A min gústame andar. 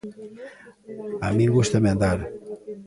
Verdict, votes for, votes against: rejected, 1, 2